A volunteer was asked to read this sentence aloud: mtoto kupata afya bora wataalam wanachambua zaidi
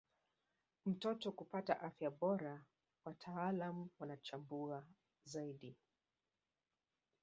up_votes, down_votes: 2, 0